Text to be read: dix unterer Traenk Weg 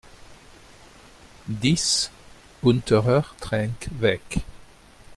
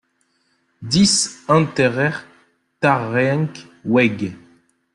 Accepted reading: first